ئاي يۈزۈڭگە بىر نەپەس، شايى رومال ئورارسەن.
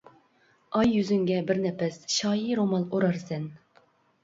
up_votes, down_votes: 2, 0